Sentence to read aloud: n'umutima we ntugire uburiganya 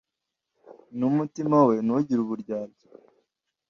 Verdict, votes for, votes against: rejected, 0, 2